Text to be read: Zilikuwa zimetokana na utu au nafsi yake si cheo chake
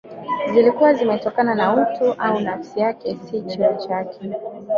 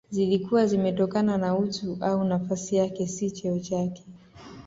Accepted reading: second